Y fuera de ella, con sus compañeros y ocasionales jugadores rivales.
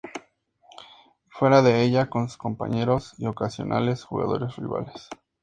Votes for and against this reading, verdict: 2, 0, accepted